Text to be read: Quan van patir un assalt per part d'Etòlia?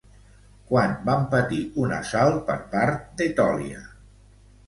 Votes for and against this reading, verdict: 2, 0, accepted